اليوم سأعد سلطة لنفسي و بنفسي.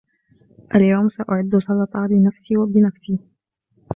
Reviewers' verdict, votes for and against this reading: rejected, 1, 2